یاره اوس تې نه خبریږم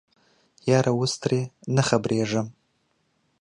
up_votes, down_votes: 2, 1